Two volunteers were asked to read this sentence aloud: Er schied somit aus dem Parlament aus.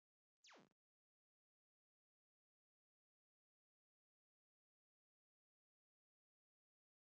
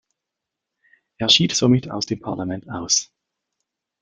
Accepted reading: second